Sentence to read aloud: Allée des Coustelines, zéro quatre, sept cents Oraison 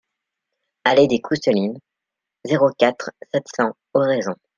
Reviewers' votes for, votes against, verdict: 0, 2, rejected